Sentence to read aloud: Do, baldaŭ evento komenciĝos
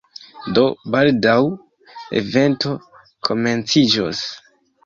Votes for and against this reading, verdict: 2, 0, accepted